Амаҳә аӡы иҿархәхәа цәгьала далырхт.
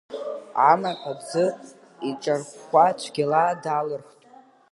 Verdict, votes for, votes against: accepted, 2, 0